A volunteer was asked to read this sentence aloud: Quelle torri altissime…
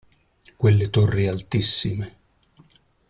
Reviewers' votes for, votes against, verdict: 2, 0, accepted